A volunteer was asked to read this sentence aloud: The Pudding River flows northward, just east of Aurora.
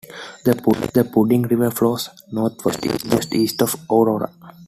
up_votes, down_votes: 0, 2